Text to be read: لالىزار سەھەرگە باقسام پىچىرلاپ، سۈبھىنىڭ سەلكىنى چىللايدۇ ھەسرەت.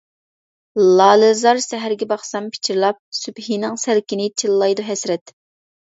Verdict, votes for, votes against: accepted, 2, 1